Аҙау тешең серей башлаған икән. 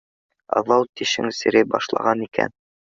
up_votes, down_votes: 3, 0